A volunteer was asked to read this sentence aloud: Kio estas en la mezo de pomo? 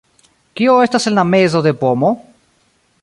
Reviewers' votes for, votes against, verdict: 0, 2, rejected